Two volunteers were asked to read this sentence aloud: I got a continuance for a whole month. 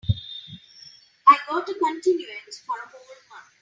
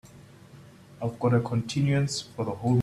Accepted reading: first